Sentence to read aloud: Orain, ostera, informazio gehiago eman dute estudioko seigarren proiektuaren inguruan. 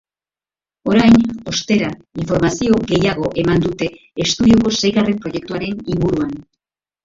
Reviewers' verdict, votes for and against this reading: accepted, 2, 1